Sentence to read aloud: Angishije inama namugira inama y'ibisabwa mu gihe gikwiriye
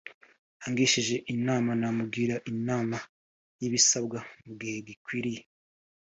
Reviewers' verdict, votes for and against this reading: accepted, 3, 0